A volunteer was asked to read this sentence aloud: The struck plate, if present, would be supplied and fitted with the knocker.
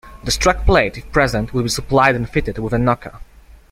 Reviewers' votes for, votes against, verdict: 2, 1, accepted